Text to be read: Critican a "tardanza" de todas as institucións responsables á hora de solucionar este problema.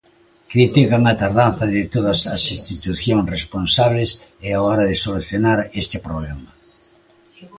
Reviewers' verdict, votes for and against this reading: rejected, 0, 2